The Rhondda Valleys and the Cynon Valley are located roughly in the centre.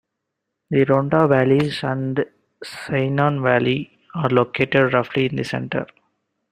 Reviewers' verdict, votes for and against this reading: rejected, 1, 2